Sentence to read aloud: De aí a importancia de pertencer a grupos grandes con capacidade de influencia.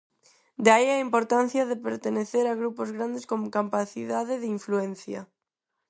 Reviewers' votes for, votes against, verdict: 0, 4, rejected